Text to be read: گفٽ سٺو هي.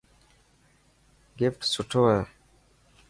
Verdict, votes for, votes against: accepted, 2, 0